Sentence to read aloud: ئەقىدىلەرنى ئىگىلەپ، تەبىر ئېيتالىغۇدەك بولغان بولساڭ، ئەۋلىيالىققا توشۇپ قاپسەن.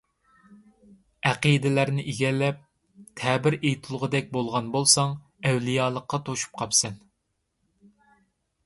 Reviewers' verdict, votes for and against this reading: rejected, 0, 2